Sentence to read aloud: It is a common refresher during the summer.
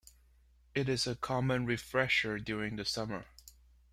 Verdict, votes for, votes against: accepted, 2, 0